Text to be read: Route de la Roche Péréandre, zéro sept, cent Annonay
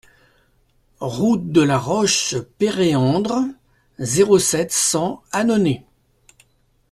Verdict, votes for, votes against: accepted, 2, 0